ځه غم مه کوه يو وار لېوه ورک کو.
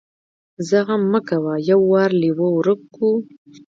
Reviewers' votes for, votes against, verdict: 1, 2, rejected